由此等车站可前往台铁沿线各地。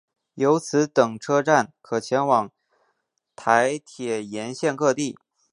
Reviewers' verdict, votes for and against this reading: accepted, 2, 0